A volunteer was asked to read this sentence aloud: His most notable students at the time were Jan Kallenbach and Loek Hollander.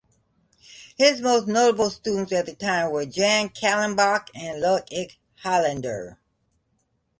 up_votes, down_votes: 1, 2